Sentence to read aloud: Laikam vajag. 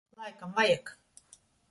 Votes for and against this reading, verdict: 1, 2, rejected